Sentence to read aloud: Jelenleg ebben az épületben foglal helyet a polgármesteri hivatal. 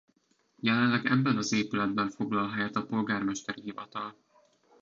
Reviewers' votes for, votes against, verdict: 2, 0, accepted